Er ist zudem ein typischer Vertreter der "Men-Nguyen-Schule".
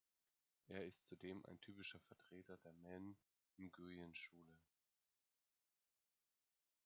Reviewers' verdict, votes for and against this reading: rejected, 0, 2